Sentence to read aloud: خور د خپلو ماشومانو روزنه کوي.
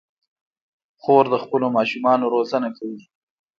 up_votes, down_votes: 0, 2